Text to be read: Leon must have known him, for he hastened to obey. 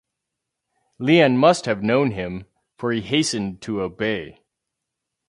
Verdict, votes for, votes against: rejected, 2, 2